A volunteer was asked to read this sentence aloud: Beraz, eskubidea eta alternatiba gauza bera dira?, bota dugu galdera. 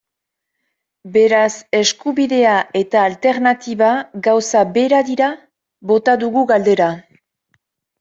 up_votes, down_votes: 2, 0